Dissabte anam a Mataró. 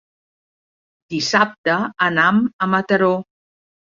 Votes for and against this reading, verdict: 3, 0, accepted